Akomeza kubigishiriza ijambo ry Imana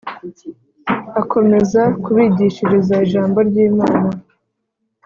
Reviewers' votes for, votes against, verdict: 2, 0, accepted